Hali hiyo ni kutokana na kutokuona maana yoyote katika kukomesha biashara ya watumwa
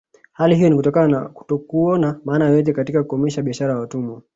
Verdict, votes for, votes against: rejected, 1, 2